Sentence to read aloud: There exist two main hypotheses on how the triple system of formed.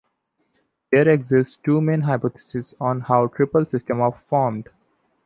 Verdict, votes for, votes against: rejected, 1, 2